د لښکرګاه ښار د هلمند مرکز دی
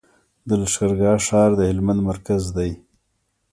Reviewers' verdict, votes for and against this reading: rejected, 1, 2